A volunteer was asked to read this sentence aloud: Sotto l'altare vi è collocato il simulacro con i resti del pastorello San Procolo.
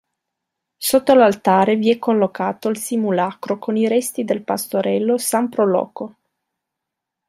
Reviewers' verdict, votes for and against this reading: accepted, 3, 1